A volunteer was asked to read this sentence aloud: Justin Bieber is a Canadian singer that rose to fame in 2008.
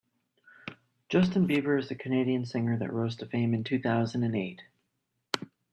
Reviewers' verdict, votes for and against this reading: rejected, 0, 2